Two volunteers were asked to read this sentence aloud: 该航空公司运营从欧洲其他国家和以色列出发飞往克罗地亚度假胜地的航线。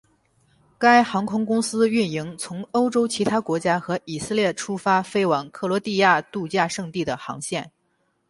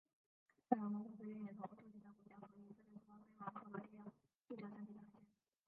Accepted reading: first